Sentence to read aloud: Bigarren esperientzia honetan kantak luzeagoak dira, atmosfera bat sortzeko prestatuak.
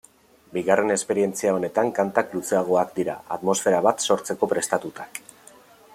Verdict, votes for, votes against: rejected, 1, 2